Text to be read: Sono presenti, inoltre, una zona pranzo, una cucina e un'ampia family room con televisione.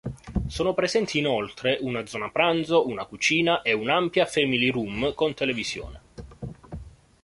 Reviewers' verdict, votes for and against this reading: accepted, 2, 0